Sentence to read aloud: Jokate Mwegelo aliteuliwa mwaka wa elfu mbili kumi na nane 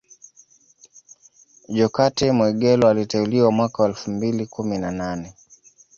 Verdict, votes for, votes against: accepted, 2, 0